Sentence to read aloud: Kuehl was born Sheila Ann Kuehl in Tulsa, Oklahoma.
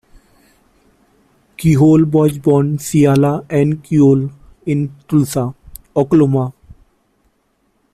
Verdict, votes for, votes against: rejected, 0, 2